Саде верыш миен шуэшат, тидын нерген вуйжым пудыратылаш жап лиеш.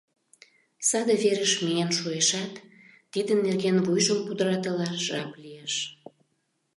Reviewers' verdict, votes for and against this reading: accepted, 2, 0